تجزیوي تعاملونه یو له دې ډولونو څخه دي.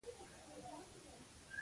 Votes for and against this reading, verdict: 0, 2, rejected